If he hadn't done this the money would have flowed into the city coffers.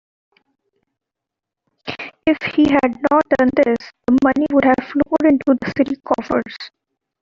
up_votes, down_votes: 1, 2